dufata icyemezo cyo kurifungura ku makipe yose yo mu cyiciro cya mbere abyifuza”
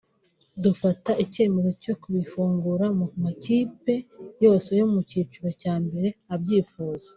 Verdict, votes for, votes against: accepted, 2, 1